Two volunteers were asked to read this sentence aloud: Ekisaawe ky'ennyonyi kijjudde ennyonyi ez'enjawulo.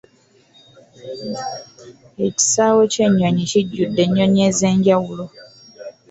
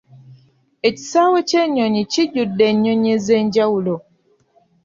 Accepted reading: second